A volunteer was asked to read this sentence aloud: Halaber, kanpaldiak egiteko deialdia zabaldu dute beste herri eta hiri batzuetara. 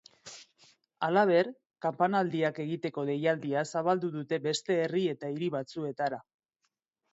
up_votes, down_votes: 0, 2